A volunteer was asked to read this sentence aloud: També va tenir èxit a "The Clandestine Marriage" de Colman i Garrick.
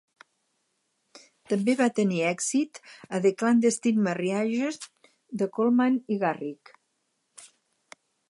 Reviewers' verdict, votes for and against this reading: rejected, 2, 4